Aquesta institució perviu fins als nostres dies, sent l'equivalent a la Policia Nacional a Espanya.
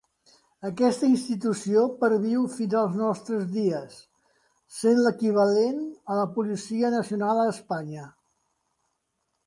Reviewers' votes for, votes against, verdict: 2, 0, accepted